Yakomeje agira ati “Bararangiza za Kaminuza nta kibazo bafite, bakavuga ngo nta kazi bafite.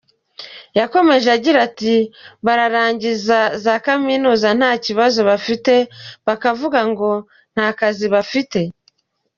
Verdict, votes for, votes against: accepted, 2, 0